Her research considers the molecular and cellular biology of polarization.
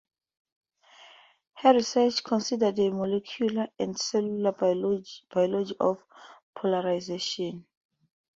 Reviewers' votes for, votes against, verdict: 2, 2, rejected